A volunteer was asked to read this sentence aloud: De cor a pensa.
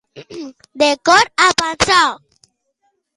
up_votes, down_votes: 1, 2